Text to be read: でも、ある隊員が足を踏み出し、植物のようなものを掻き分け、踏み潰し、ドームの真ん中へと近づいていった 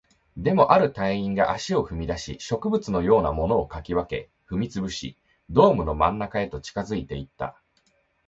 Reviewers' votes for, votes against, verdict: 2, 0, accepted